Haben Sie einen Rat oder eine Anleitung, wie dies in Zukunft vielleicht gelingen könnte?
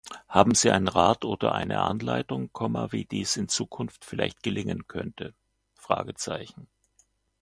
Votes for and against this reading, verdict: 1, 2, rejected